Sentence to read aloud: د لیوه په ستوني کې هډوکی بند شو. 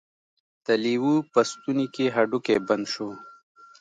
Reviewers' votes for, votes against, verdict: 1, 2, rejected